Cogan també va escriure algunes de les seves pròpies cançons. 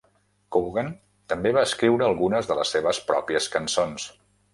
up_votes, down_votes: 3, 0